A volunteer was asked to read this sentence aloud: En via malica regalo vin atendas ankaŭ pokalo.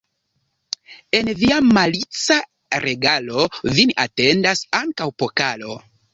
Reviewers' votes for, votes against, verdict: 2, 0, accepted